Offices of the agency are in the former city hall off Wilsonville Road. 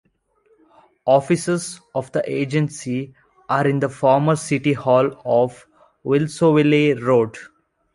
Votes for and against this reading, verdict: 1, 2, rejected